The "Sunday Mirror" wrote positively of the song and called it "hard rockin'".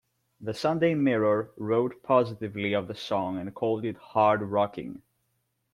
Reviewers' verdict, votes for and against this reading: rejected, 0, 2